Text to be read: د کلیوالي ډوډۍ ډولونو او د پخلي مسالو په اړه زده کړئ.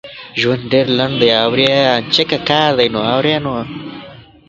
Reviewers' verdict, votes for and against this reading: rejected, 0, 2